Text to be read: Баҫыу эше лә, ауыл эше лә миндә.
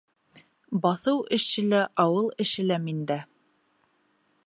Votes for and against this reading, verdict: 2, 0, accepted